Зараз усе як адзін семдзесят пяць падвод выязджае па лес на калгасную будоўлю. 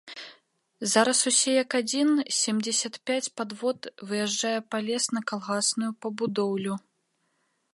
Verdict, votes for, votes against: rejected, 0, 2